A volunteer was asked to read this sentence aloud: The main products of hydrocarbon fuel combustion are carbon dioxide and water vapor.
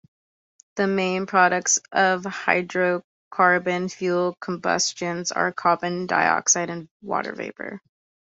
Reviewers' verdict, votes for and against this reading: accepted, 2, 0